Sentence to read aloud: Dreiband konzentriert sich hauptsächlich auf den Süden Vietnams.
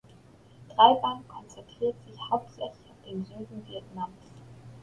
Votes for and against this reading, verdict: 2, 0, accepted